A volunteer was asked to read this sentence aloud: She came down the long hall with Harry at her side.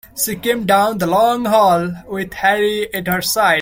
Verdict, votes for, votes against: rejected, 0, 2